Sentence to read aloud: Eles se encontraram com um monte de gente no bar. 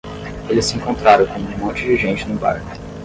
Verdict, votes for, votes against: rejected, 5, 5